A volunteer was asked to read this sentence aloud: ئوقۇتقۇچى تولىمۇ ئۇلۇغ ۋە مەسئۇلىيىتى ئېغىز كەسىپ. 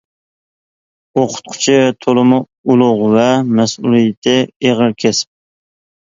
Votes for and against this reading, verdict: 2, 0, accepted